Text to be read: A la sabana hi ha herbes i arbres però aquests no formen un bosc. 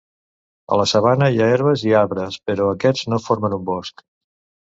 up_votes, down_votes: 2, 0